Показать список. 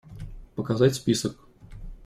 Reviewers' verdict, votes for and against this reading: accepted, 2, 0